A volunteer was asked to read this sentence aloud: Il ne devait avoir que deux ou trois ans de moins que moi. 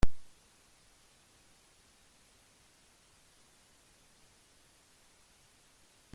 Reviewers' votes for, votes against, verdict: 0, 2, rejected